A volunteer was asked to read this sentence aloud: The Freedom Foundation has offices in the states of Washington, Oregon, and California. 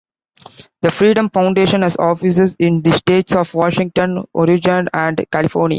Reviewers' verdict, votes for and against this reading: rejected, 0, 2